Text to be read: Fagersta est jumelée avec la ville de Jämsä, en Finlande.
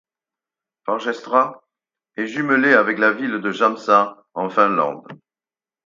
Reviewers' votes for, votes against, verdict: 0, 4, rejected